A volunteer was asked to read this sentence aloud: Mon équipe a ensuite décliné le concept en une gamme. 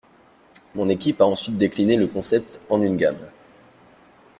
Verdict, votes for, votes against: accepted, 2, 0